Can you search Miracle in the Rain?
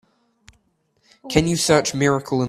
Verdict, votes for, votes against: rejected, 0, 2